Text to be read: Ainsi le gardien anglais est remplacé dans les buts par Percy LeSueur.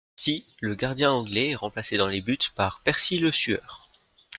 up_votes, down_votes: 1, 2